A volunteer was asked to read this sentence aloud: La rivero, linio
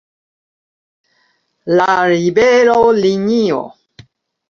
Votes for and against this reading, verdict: 1, 2, rejected